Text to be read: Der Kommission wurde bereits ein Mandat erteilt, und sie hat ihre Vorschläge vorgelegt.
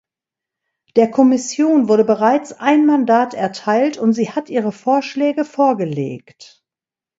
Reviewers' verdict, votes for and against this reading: accepted, 2, 0